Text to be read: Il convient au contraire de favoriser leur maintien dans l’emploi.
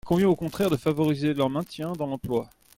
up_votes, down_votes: 0, 2